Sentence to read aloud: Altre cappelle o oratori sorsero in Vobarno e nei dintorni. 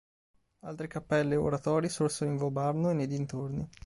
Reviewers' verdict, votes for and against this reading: accepted, 4, 0